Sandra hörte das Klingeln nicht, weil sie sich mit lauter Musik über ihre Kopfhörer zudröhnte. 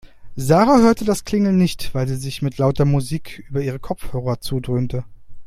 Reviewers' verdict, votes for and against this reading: rejected, 0, 2